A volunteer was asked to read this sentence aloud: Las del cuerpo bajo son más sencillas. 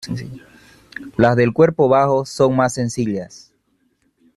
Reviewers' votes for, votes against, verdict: 2, 1, accepted